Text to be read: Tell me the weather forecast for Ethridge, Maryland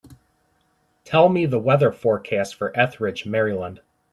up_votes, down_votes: 2, 0